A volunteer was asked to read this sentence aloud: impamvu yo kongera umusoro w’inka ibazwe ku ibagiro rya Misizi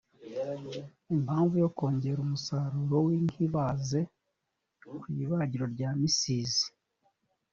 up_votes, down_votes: 1, 2